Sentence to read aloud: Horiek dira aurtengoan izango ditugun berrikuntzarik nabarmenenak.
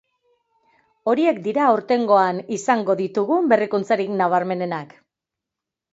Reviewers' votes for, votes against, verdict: 2, 0, accepted